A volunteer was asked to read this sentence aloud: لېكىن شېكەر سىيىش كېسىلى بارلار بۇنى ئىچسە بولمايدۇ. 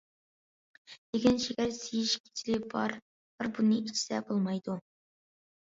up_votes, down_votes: 0, 2